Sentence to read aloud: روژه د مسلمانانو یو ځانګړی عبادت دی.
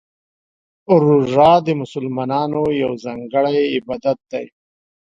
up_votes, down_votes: 2, 0